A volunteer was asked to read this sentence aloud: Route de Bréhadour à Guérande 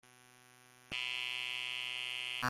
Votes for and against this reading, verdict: 0, 2, rejected